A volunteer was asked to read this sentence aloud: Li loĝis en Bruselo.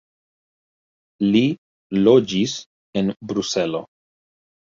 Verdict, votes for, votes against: rejected, 1, 2